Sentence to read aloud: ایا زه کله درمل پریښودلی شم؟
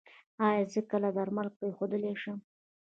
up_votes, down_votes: 2, 1